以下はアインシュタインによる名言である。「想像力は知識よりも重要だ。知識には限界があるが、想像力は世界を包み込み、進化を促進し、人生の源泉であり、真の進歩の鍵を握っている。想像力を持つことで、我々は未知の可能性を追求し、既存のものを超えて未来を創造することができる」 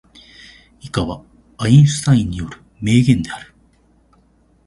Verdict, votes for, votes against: rejected, 0, 2